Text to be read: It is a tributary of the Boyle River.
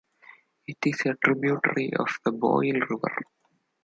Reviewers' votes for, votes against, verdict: 2, 0, accepted